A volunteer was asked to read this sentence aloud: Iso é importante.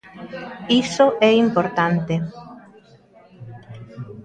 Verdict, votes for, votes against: accepted, 3, 0